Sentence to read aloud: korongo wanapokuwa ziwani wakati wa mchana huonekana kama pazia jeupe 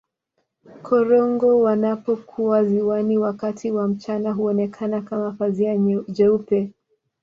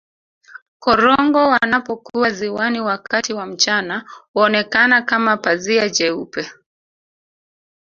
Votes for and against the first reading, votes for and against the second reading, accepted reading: 2, 0, 0, 2, first